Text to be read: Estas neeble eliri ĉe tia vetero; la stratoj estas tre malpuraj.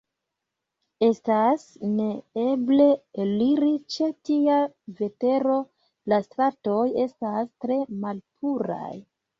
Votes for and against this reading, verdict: 1, 2, rejected